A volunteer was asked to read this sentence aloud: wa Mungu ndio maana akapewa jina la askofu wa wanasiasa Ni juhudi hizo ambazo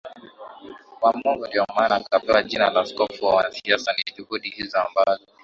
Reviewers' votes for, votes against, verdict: 2, 1, accepted